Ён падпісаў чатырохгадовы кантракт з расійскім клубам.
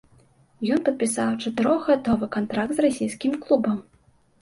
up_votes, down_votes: 2, 0